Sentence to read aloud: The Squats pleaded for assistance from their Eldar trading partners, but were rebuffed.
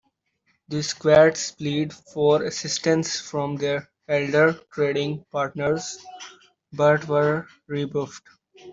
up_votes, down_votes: 1, 2